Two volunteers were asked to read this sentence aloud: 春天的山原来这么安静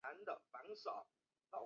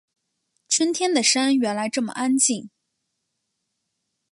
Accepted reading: second